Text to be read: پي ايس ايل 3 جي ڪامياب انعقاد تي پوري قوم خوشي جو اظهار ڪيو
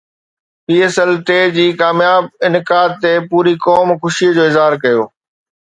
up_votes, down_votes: 0, 2